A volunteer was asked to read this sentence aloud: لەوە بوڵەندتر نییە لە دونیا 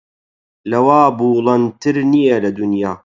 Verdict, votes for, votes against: rejected, 0, 8